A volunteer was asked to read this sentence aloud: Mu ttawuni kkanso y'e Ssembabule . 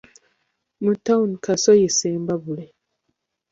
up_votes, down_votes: 0, 2